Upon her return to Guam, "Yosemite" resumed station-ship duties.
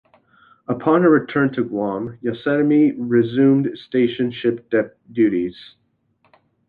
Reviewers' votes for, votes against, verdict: 1, 2, rejected